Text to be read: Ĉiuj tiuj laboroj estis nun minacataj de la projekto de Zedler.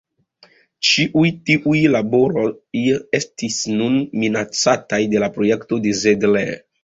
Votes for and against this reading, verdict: 1, 2, rejected